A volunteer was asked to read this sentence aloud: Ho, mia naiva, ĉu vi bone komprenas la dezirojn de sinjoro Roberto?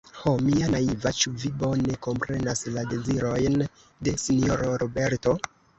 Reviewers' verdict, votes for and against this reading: rejected, 0, 2